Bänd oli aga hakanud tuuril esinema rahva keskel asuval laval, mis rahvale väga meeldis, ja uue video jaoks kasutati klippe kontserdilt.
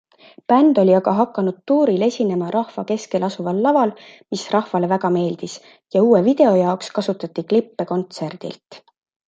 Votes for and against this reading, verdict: 2, 0, accepted